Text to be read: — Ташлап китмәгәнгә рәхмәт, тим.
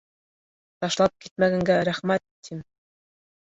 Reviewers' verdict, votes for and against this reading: accepted, 2, 0